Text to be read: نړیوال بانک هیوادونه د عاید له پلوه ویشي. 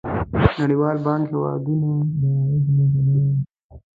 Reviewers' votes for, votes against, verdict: 1, 2, rejected